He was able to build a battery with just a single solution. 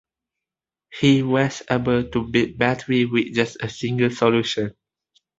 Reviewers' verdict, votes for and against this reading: accepted, 2, 1